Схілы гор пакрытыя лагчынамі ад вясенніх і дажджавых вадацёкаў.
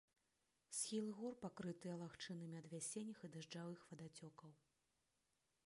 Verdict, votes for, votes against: rejected, 0, 2